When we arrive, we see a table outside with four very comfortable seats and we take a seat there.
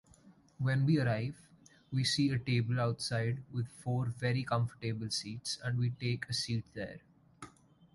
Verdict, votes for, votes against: accepted, 2, 0